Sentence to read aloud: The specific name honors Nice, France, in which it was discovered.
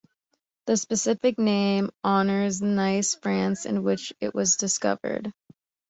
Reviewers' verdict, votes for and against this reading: accepted, 2, 0